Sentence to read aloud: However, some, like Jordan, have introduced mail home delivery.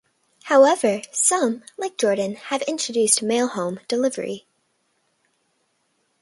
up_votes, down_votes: 2, 0